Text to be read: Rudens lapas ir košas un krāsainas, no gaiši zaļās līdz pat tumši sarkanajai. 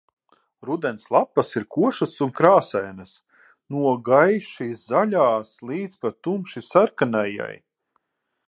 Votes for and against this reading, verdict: 3, 6, rejected